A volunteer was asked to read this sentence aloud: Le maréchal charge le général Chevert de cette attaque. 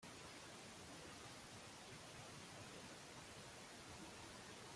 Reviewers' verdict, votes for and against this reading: rejected, 0, 2